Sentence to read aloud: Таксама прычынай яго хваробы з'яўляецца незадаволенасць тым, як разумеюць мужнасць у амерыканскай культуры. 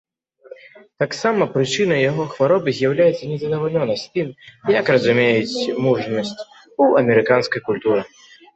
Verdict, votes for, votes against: rejected, 0, 2